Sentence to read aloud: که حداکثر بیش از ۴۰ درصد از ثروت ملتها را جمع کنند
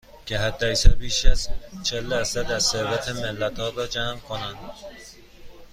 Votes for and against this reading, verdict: 0, 2, rejected